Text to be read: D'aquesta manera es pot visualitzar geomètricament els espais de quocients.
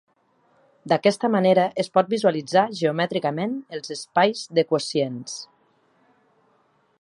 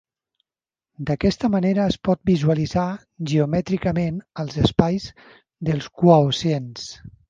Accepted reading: first